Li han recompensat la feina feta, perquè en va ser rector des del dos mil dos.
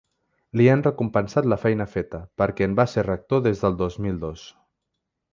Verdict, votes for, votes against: accepted, 3, 0